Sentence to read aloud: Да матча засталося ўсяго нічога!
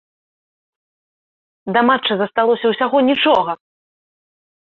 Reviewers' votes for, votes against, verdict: 3, 0, accepted